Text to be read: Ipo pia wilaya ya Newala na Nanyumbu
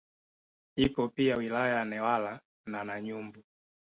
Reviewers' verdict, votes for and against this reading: accepted, 2, 0